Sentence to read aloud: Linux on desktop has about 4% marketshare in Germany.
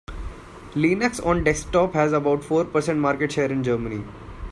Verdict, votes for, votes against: rejected, 0, 2